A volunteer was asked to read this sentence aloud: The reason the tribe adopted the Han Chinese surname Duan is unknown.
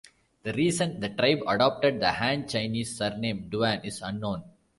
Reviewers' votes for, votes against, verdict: 2, 0, accepted